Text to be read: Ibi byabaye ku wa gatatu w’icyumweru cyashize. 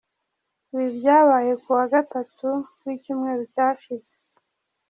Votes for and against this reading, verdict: 2, 0, accepted